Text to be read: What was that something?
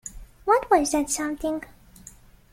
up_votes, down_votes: 2, 0